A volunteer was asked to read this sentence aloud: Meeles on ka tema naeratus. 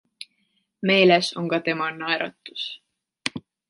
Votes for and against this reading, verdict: 2, 0, accepted